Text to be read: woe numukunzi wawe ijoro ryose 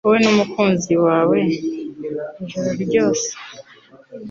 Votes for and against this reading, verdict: 2, 0, accepted